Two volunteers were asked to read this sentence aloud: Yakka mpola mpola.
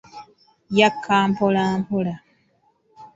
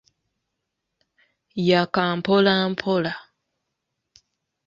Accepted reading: first